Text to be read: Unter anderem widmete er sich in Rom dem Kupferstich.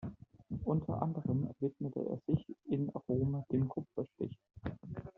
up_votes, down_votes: 1, 2